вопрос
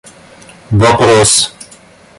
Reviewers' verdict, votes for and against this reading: accepted, 2, 0